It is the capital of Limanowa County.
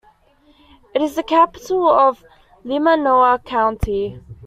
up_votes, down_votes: 2, 0